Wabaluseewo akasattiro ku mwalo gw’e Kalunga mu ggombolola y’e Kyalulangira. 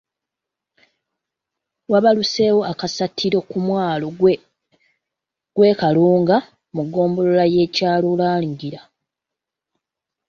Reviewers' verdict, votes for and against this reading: rejected, 1, 2